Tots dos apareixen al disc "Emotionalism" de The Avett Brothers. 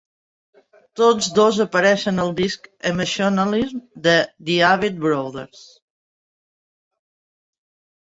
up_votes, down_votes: 2, 0